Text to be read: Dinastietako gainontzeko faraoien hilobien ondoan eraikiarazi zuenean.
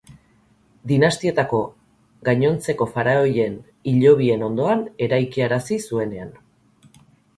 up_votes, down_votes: 6, 0